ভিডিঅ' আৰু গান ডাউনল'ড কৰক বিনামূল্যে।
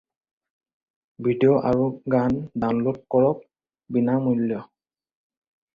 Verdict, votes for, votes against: rejected, 0, 4